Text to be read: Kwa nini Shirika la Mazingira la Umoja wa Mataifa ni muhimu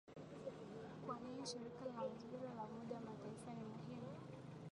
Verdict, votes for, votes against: rejected, 1, 3